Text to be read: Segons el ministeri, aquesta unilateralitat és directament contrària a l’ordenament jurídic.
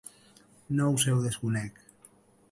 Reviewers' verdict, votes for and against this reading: rejected, 0, 2